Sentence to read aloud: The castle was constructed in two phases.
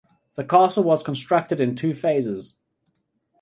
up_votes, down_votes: 2, 0